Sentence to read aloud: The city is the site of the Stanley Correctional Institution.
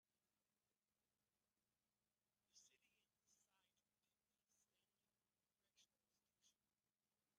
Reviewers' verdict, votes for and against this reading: rejected, 0, 2